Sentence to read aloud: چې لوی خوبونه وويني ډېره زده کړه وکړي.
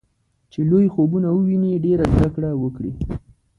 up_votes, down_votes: 2, 0